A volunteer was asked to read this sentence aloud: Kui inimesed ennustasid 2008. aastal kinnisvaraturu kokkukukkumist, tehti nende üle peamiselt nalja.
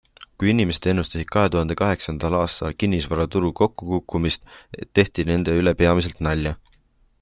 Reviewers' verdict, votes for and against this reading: rejected, 0, 2